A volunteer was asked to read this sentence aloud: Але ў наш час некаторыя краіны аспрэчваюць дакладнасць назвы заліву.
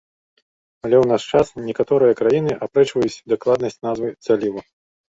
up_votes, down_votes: 1, 2